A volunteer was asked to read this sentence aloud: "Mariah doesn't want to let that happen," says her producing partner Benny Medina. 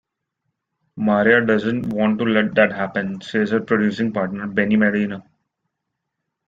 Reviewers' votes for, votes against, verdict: 1, 2, rejected